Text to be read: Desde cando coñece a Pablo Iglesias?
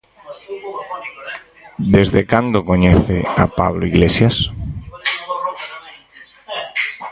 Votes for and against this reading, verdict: 0, 4, rejected